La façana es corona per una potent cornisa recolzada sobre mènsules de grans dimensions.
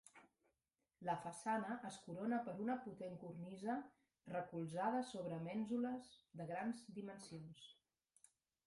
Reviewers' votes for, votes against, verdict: 2, 1, accepted